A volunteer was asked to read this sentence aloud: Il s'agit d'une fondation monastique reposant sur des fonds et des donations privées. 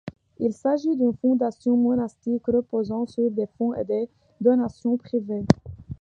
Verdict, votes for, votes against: accepted, 2, 1